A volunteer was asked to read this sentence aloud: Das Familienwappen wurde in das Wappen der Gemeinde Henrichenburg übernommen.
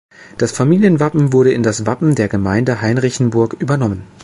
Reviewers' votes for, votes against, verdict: 2, 0, accepted